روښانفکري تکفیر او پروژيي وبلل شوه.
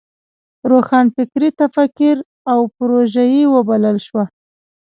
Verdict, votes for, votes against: rejected, 0, 2